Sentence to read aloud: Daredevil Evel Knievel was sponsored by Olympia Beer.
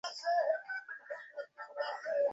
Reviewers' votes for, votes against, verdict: 0, 2, rejected